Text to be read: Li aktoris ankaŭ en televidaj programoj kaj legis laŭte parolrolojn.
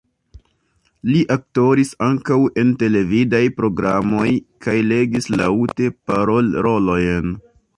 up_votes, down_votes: 1, 2